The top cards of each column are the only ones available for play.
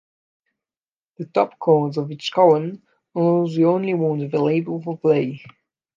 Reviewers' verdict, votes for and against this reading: rejected, 0, 2